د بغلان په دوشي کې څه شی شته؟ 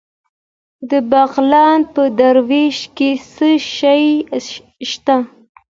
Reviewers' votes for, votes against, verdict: 1, 2, rejected